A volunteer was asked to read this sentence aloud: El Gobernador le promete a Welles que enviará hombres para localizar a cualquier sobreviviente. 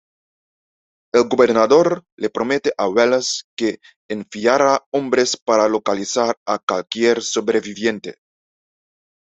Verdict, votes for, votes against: rejected, 0, 2